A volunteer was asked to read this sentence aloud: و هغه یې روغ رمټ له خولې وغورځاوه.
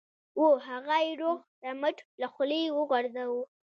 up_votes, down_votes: 0, 2